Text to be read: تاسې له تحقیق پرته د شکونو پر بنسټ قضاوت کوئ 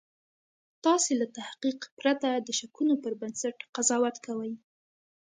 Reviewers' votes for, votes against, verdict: 3, 0, accepted